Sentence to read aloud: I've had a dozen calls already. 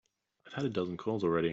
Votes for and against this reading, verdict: 2, 0, accepted